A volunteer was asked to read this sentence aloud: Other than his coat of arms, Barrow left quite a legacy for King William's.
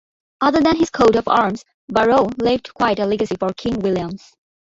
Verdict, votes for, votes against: accepted, 2, 0